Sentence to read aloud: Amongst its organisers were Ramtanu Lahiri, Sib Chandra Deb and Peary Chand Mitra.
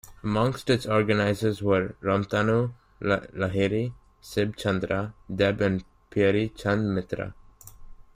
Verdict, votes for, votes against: accepted, 2, 1